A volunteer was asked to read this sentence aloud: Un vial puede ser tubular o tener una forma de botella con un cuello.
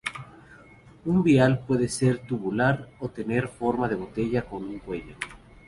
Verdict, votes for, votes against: rejected, 0, 2